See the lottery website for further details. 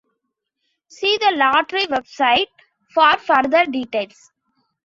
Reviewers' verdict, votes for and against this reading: accepted, 2, 0